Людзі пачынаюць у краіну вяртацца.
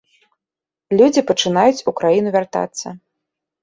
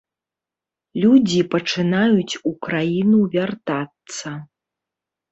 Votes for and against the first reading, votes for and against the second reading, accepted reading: 2, 0, 0, 2, first